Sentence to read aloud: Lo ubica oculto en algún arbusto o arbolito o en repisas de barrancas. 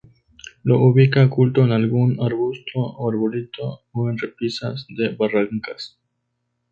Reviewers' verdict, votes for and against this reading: accepted, 2, 0